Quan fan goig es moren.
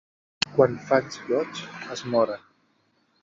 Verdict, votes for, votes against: rejected, 0, 2